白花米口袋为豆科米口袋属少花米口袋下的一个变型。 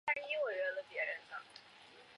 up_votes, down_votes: 0, 2